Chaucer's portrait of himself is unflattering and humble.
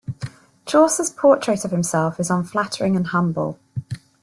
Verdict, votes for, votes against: accepted, 2, 0